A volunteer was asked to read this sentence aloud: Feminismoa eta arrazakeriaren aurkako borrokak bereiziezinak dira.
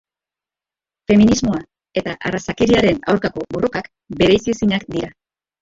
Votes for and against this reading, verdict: 0, 2, rejected